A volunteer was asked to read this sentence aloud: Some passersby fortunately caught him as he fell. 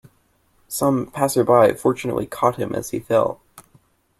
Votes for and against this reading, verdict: 2, 1, accepted